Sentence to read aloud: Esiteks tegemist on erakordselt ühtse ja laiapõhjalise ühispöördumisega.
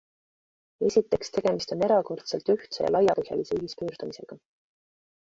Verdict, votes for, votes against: accepted, 2, 0